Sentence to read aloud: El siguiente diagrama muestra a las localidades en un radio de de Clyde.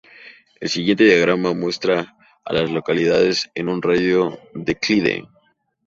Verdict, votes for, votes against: rejected, 0, 2